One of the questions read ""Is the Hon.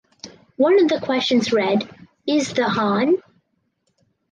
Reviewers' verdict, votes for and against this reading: accepted, 4, 2